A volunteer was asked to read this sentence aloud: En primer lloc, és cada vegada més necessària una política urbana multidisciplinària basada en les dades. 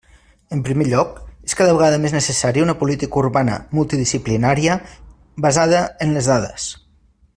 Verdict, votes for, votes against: accepted, 3, 0